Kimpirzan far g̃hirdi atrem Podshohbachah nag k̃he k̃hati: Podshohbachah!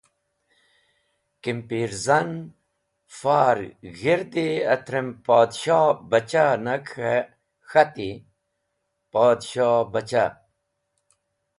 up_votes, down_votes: 2, 1